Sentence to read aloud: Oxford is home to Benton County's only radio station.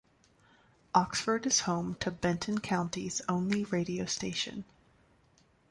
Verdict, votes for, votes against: accepted, 2, 1